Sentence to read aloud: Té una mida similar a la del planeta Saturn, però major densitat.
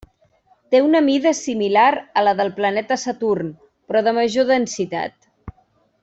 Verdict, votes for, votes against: rejected, 1, 2